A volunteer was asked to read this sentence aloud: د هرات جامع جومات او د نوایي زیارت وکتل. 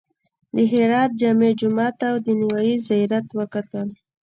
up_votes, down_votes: 2, 0